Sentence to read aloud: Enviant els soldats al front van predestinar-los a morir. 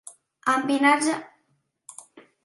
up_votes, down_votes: 0, 2